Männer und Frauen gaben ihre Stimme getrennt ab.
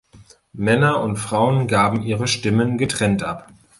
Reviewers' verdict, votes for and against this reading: rejected, 0, 2